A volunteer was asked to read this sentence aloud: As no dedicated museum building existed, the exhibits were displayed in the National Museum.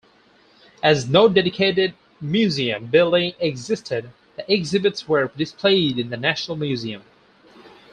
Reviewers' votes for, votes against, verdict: 2, 0, accepted